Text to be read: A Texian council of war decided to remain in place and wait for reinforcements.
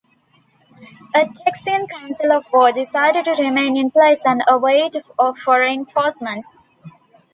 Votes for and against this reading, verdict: 1, 2, rejected